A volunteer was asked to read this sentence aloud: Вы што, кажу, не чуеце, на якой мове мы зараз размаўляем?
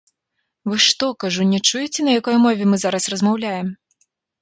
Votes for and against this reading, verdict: 1, 3, rejected